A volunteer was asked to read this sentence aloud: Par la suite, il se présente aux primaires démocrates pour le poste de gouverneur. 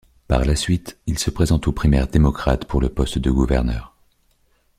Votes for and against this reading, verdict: 2, 0, accepted